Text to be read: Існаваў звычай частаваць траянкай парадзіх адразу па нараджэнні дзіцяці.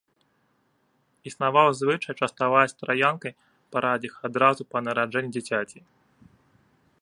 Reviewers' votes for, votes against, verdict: 1, 2, rejected